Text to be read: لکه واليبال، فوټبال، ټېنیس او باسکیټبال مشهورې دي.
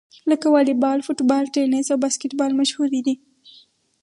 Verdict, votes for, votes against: rejected, 2, 2